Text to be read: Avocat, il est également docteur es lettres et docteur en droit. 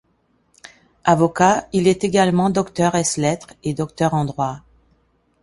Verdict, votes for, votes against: accepted, 2, 0